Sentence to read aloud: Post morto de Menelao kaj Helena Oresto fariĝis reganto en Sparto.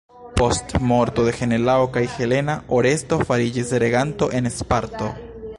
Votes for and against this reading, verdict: 0, 2, rejected